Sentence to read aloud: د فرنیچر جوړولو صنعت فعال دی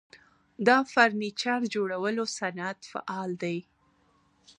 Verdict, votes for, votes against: rejected, 1, 2